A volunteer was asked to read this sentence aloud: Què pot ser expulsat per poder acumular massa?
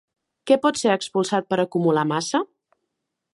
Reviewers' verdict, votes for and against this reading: rejected, 0, 2